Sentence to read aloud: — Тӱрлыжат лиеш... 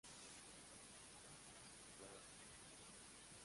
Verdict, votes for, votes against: rejected, 0, 2